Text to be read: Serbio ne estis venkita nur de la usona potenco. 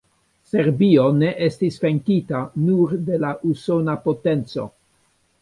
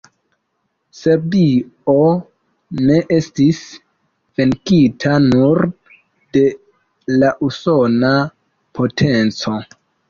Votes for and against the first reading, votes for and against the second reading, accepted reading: 2, 1, 1, 2, first